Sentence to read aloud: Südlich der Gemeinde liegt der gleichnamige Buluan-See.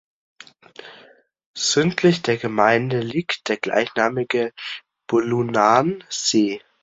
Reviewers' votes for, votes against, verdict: 0, 2, rejected